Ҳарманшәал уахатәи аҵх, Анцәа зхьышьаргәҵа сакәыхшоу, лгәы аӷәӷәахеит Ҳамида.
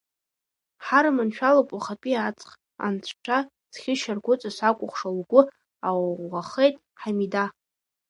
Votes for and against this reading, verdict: 0, 2, rejected